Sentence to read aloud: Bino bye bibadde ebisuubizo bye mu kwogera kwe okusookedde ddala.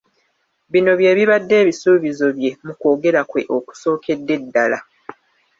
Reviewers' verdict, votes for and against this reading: accepted, 2, 0